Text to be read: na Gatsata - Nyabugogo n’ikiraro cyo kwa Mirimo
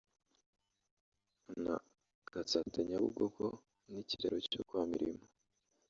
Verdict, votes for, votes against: rejected, 0, 2